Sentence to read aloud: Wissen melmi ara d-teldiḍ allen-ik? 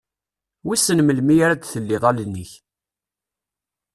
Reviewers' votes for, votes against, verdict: 0, 2, rejected